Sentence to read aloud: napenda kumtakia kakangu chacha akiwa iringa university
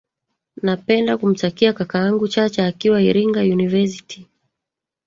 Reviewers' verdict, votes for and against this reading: rejected, 1, 3